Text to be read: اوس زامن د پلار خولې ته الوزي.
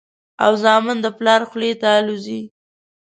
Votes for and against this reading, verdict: 0, 2, rejected